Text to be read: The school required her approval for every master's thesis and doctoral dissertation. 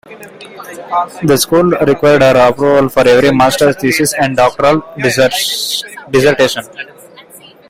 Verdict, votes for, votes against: rejected, 0, 2